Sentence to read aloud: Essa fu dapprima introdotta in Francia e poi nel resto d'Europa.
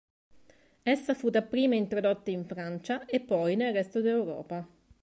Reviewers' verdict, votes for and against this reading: accepted, 3, 0